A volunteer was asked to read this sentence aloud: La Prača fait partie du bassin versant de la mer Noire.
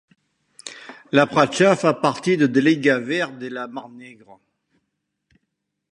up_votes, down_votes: 1, 2